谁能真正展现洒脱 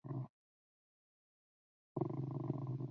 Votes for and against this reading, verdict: 0, 2, rejected